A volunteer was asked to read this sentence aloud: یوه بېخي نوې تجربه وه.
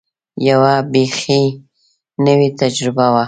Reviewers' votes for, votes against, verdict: 2, 0, accepted